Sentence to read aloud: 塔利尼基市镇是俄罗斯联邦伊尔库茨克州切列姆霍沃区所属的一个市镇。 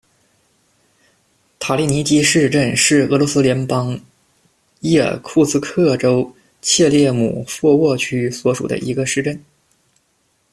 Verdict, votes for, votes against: accepted, 2, 0